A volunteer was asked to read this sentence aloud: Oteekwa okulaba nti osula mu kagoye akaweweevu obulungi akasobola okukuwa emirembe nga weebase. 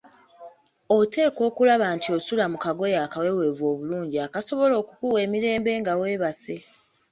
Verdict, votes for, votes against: accepted, 2, 0